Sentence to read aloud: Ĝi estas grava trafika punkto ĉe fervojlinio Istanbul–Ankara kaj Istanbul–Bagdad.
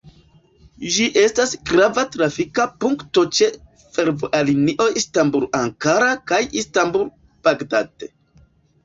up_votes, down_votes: 0, 3